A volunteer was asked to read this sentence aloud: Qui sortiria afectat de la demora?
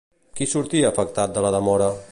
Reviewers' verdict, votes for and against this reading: rejected, 0, 2